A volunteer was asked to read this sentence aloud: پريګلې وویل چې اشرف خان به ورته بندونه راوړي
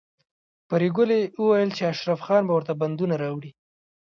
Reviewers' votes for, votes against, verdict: 1, 2, rejected